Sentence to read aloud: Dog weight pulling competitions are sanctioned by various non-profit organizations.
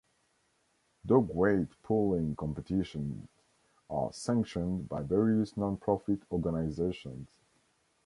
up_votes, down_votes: 0, 2